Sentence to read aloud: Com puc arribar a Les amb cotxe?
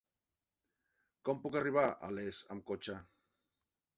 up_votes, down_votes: 3, 1